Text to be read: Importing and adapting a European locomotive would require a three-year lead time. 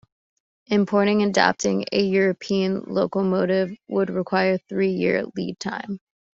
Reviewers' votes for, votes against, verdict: 2, 1, accepted